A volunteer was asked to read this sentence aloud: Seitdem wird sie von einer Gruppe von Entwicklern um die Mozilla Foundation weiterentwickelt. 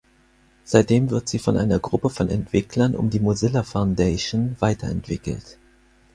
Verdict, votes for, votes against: accepted, 6, 0